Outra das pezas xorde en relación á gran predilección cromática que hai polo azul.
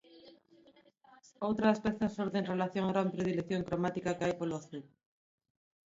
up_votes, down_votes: 0, 2